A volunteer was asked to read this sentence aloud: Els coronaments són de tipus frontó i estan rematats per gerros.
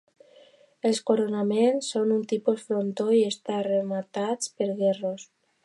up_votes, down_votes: 0, 2